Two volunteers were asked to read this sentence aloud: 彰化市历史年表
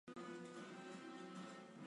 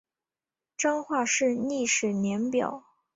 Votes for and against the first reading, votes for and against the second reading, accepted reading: 3, 4, 2, 0, second